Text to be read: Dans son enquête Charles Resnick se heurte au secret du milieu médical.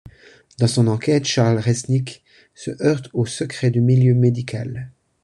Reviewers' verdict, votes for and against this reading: accepted, 2, 1